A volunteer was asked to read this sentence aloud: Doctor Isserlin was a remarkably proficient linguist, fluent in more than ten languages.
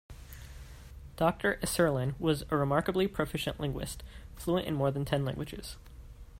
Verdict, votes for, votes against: accepted, 2, 0